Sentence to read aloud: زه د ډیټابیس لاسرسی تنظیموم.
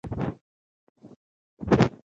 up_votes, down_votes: 1, 2